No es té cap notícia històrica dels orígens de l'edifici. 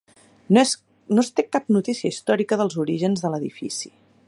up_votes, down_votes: 1, 4